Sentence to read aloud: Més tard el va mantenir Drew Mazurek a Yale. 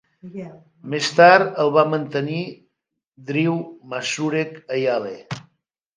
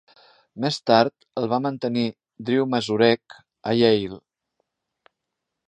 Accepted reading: second